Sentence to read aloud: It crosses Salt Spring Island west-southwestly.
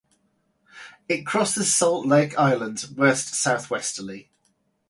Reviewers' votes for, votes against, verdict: 0, 4, rejected